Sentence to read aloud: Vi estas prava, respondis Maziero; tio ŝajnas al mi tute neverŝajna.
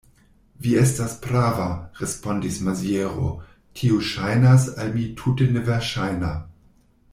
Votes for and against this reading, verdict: 2, 0, accepted